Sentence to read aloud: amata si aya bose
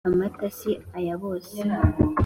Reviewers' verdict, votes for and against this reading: accepted, 2, 0